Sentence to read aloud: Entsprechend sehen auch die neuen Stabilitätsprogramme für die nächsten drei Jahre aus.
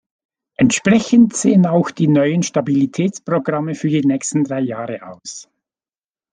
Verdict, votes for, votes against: accepted, 2, 0